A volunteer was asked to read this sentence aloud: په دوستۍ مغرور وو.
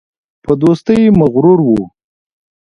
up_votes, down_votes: 2, 1